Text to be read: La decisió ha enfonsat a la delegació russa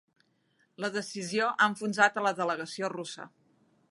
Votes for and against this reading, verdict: 3, 0, accepted